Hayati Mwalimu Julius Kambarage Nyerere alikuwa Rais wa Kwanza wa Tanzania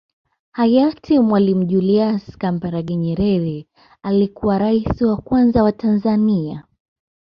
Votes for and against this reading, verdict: 2, 0, accepted